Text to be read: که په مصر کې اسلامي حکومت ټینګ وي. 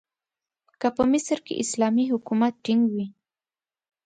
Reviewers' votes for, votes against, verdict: 2, 0, accepted